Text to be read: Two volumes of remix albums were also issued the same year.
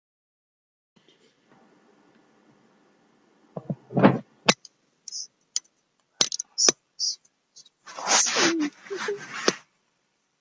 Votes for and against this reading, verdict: 0, 2, rejected